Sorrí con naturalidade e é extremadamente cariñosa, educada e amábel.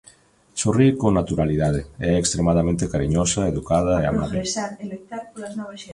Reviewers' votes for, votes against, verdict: 0, 2, rejected